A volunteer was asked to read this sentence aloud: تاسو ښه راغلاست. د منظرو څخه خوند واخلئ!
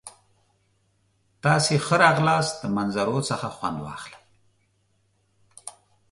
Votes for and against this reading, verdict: 1, 2, rejected